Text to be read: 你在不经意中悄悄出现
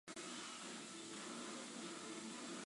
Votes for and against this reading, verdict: 1, 5, rejected